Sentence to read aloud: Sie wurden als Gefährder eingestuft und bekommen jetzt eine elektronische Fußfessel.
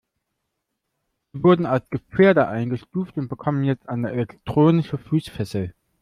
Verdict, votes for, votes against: rejected, 1, 2